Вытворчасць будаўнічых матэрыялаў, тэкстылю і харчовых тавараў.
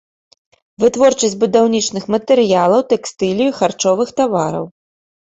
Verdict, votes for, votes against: rejected, 1, 2